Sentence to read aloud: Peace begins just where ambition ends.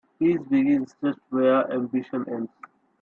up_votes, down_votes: 0, 3